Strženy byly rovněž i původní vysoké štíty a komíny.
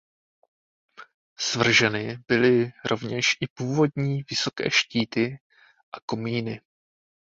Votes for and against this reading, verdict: 0, 3, rejected